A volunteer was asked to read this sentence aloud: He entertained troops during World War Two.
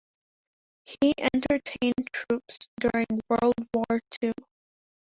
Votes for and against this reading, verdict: 2, 1, accepted